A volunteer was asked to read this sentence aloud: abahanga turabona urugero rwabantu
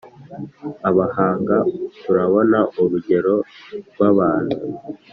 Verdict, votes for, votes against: accepted, 3, 0